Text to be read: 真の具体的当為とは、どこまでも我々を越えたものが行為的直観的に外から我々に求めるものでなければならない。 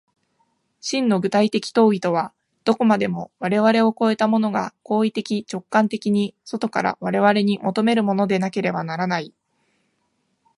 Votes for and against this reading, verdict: 2, 0, accepted